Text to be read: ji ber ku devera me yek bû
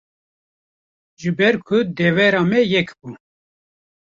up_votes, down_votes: 2, 0